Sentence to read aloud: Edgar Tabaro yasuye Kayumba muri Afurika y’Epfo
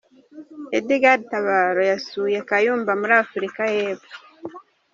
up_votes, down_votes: 3, 1